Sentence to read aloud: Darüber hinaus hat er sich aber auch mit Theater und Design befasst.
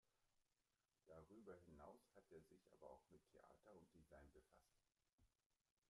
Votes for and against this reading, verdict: 0, 2, rejected